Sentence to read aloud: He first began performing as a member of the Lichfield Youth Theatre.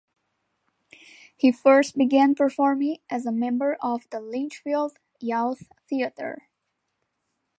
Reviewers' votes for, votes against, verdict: 1, 2, rejected